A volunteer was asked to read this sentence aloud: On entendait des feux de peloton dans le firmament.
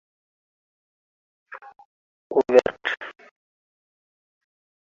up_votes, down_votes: 0, 2